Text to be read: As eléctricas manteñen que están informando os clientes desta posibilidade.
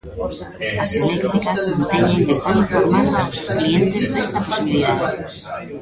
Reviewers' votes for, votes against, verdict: 1, 3, rejected